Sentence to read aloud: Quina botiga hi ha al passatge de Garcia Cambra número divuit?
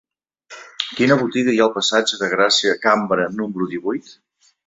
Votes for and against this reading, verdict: 1, 3, rejected